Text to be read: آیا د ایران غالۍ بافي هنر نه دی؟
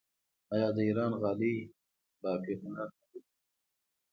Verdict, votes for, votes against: accepted, 2, 0